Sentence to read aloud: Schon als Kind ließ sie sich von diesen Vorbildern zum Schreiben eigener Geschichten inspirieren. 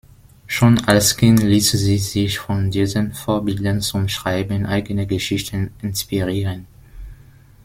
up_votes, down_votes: 0, 2